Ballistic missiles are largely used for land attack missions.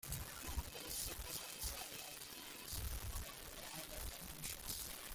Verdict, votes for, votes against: rejected, 0, 2